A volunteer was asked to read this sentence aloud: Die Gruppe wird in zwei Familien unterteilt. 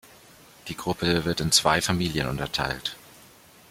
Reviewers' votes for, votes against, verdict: 2, 0, accepted